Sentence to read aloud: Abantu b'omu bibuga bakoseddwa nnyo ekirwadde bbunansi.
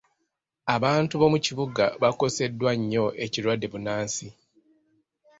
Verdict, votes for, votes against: rejected, 0, 2